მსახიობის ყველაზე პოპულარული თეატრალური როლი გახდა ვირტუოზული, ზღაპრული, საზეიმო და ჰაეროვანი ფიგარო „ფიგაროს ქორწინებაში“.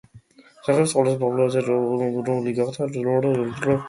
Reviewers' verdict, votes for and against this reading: rejected, 1, 2